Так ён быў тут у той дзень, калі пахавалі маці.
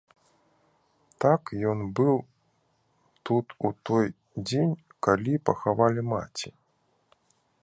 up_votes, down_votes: 2, 0